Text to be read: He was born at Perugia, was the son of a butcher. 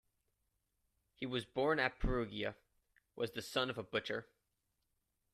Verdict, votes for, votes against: accepted, 2, 0